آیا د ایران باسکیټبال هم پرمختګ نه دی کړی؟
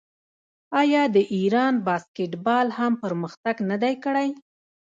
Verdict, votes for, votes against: rejected, 0, 2